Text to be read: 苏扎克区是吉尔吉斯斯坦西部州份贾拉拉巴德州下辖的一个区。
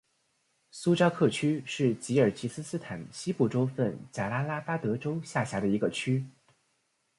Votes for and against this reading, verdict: 9, 0, accepted